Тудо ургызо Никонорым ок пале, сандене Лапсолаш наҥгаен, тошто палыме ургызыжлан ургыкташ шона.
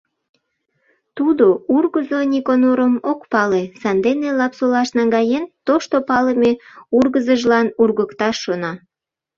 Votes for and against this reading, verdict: 2, 0, accepted